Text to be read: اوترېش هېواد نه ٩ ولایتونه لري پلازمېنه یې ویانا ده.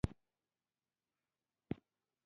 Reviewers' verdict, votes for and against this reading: rejected, 0, 2